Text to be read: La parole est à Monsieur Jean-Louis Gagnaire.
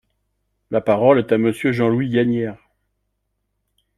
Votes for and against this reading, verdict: 2, 0, accepted